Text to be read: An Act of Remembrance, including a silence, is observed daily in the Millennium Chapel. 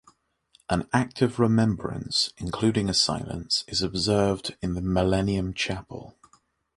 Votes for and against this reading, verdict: 0, 2, rejected